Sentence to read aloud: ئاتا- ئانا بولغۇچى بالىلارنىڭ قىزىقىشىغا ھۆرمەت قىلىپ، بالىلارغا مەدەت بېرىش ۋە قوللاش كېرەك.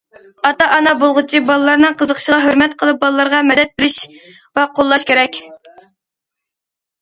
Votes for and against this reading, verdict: 2, 0, accepted